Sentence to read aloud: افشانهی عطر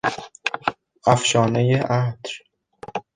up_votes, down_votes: 1, 2